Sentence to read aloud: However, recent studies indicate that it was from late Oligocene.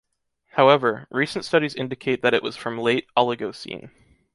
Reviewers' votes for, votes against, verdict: 2, 1, accepted